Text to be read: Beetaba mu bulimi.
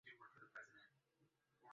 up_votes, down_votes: 0, 3